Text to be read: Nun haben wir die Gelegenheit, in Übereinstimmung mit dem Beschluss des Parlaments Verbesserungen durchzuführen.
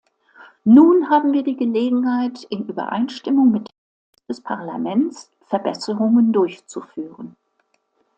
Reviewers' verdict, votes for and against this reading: rejected, 0, 2